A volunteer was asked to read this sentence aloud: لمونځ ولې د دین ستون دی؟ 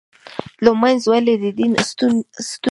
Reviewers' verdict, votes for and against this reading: rejected, 1, 2